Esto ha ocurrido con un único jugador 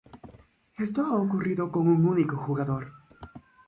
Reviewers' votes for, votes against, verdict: 2, 0, accepted